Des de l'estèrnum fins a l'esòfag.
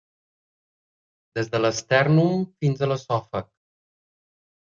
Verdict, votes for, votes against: accepted, 2, 0